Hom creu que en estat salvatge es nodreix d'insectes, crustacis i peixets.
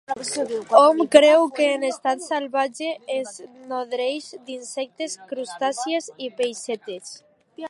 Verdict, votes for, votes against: rejected, 0, 2